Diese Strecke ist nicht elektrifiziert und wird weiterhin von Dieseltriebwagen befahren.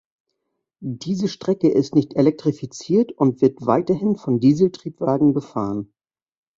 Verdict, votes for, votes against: accepted, 2, 0